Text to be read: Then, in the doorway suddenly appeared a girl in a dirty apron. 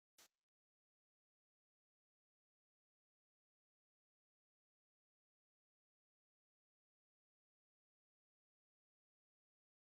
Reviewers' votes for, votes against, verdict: 0, 2, rejected